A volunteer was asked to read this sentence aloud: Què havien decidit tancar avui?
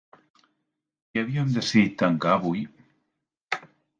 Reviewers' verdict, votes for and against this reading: rejected, 0, 3